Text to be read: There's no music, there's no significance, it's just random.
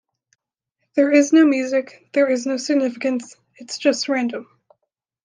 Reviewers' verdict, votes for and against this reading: rejected, 1, 3